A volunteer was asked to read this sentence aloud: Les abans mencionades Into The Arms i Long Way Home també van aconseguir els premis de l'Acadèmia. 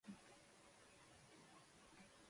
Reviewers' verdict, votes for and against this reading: rejected, 0, 2